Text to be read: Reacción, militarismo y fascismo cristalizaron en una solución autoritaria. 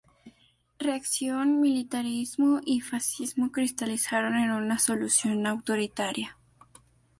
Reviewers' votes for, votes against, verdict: 0, 2, rejected